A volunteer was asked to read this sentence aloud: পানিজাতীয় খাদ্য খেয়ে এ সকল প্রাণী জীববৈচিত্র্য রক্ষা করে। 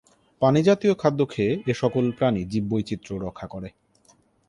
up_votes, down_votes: 2, 0